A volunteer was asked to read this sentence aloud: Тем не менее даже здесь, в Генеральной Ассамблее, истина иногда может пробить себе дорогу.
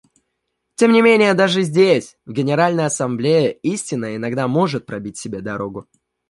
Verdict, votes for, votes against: accepted, 2, 0